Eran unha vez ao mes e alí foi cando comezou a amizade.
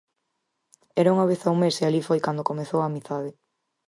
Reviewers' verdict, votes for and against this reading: rejected, 0, 4